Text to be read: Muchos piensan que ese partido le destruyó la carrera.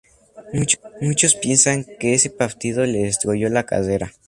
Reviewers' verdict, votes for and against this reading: accepted, 2, 0